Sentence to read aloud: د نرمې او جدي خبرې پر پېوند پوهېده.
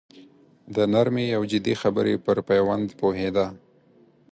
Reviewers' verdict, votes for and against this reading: accepted, 4, 0